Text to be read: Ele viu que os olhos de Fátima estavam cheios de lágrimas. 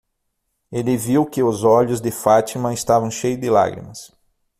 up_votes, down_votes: 3, 6